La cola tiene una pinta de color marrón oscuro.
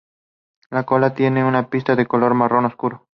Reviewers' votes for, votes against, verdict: 2, 2, rejected